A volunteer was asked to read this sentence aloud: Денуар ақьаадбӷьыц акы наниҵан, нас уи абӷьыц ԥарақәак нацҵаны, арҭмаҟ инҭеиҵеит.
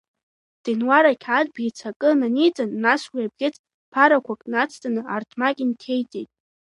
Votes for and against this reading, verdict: 0, 2, rejected